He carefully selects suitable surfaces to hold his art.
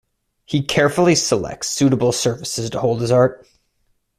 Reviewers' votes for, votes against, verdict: 2, 1, accepted